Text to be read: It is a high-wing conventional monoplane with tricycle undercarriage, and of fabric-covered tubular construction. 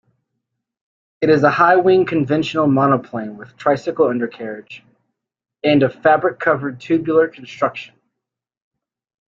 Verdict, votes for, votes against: accepted, 2, 0